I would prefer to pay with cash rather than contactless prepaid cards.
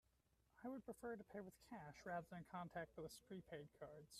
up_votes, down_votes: 0, 2